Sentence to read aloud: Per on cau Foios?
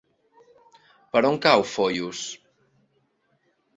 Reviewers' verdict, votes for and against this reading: accepted, 2, 0